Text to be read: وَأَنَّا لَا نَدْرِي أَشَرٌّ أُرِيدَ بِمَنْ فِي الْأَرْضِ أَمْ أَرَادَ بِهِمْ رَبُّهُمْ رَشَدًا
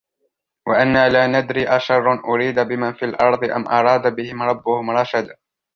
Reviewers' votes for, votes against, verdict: 2, 0, accepted